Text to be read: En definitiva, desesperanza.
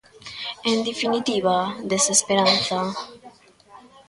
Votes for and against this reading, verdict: 1, 2, rejected